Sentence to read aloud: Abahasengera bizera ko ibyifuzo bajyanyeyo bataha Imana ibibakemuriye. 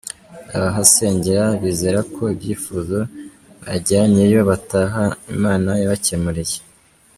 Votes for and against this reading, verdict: 1, 2, rejected